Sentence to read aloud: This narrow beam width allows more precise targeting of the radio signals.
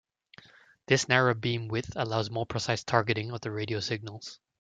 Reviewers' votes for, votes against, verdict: 2, 0, accepted